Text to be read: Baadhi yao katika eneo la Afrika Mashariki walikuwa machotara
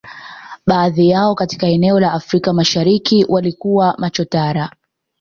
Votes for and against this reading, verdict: 2, 0, accepted